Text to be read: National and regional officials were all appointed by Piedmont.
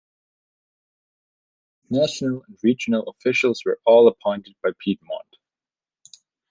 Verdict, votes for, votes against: rejected, 1, 2